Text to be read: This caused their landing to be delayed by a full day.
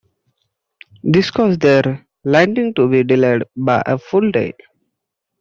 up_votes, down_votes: 2, 0